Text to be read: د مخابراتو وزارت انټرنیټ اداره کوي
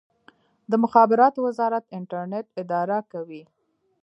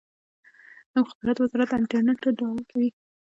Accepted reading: first